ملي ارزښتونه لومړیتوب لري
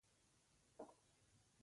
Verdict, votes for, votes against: rejected, 1, 2